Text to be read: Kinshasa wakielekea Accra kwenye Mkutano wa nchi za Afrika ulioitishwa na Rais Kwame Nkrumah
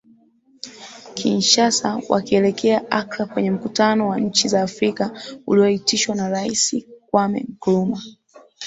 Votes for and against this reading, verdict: 2, 0, accepted